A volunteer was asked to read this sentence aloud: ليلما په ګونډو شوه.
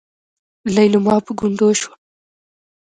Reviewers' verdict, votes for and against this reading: rejected, 0, 2